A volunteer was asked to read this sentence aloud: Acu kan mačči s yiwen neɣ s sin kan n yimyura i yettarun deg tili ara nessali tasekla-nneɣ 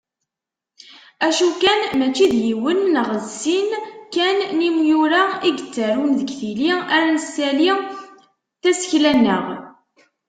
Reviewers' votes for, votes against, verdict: 0, 2, rejected